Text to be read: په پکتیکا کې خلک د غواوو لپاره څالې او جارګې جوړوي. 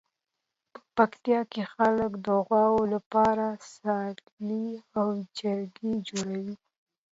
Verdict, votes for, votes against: accepted, 2, 0